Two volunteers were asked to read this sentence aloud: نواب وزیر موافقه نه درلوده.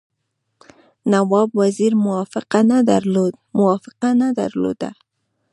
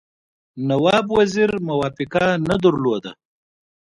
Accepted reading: second